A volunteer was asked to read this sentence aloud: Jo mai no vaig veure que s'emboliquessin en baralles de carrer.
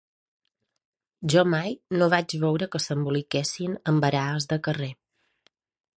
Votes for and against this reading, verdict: 1, 2, rejected